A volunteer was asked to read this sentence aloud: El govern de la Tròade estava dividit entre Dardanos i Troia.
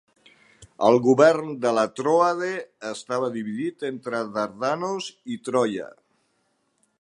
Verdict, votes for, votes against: accepted, 4, 0